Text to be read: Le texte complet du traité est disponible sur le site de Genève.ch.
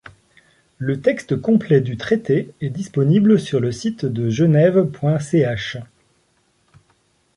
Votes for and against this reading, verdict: 2, 0, accepted